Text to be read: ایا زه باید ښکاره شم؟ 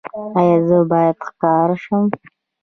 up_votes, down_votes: 2, 0